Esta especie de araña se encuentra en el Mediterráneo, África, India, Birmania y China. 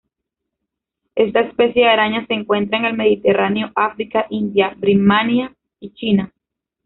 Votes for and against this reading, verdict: 0, 2, rejected